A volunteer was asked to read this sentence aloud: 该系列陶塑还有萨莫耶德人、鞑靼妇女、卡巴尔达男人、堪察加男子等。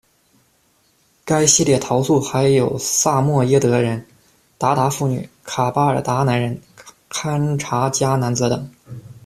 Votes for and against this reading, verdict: 1, 2, rejected